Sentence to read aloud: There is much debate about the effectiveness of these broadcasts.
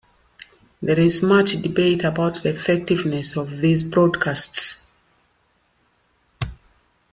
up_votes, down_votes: 2, 0